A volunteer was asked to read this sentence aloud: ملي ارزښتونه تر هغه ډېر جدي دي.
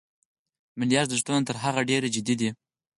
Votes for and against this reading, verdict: 4, 0, accepted